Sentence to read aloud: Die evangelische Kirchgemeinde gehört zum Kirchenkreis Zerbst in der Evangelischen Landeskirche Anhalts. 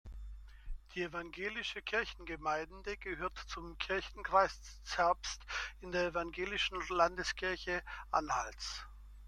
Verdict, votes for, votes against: accepted, 2, 1